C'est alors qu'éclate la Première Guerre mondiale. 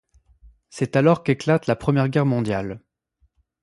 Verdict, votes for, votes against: accepted, 2, 0